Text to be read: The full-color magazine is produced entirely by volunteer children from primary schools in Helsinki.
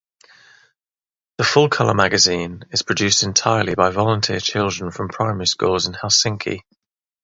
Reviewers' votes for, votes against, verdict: 0, 3, rejected